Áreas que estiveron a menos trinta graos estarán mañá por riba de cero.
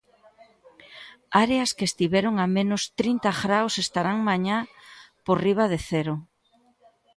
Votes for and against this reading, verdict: 2, 0, accepted